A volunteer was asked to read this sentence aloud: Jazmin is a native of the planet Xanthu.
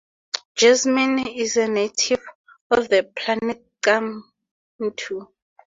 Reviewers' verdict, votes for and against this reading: rejected, 0, 2